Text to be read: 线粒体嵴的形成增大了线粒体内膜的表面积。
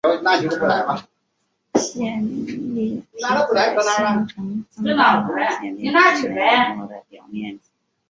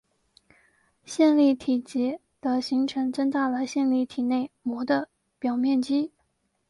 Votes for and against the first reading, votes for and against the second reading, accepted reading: 0, 2, 2, 0, second